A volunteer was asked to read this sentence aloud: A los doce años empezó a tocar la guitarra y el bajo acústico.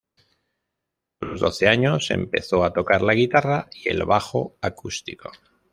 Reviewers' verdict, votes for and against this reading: accepted, 3, 1